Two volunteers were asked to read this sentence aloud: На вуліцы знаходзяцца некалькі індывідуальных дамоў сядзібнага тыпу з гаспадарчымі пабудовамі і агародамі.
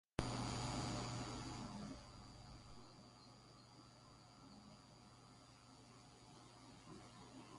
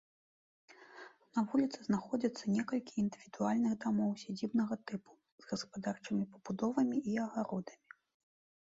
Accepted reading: second